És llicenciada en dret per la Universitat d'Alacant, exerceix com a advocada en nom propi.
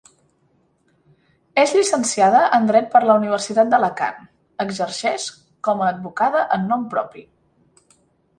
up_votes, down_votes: 2, 0